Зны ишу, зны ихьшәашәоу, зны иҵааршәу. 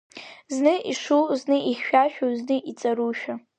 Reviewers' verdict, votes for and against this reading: rejected, 0, 2